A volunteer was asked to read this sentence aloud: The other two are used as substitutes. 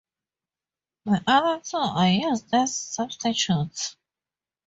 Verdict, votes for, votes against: accepted, 4, 0